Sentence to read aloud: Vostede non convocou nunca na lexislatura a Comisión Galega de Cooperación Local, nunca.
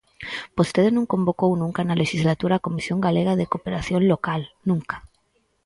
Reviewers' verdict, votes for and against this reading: accepted, 4, 0